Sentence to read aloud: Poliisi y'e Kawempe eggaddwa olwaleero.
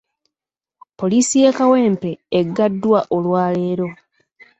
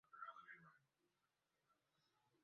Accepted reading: first